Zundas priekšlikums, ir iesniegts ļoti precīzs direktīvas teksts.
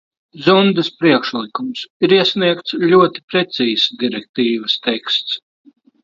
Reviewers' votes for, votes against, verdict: 2, 0, accepted